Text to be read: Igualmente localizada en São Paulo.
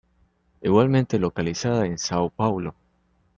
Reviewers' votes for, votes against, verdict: 2, 0, accepted